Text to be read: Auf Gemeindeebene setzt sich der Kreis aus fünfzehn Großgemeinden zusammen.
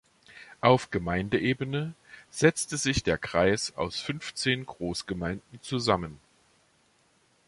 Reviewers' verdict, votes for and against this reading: rejected, 1, 2